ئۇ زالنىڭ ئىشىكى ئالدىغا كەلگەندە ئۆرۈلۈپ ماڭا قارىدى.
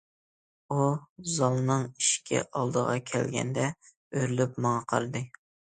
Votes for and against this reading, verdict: 2, 0, accepted